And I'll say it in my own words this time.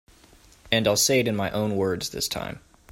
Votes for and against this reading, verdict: 2, 0, accepted